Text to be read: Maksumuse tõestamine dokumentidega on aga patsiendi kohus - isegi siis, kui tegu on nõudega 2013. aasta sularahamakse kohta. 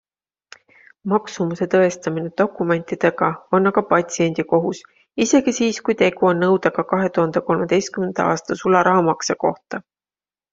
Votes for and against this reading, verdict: 0, 2, rejected